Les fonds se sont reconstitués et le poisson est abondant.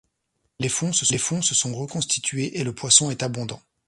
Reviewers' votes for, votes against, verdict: 1, 2, rejected